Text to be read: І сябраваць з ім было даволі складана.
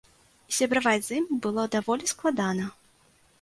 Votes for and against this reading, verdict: 1, 2, rejected